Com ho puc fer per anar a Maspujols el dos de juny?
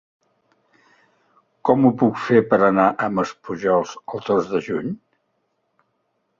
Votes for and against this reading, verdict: 2, 0, accepted